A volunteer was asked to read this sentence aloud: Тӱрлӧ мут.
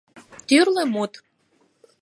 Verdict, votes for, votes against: accepted, 4, 0